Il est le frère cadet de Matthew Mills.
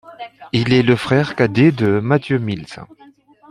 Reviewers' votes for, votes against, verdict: 1, 2, rejected